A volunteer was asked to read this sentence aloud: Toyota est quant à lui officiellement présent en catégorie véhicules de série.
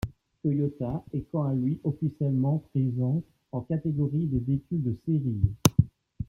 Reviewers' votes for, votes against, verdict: 1, 2, rejected